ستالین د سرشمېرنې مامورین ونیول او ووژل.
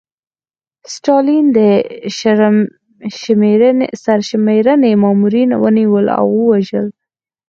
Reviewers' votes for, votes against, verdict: 0, 4, rejected